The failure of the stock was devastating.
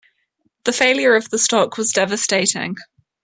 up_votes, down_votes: 2, 1